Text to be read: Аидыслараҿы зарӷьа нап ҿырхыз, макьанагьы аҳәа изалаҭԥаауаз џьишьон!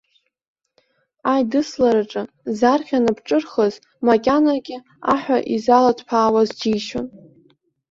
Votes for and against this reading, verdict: 2, 0, accepted